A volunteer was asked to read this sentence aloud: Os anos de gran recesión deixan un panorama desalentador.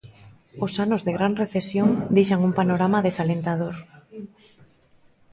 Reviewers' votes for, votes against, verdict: 0, 2, rejected